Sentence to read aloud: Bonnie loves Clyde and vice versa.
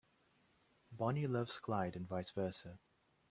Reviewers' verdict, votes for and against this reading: accepted, 2, 1